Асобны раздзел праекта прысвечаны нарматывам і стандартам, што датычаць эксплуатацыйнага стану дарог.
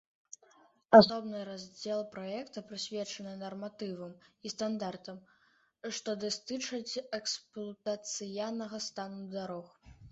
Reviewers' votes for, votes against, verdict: 0, 2, rejected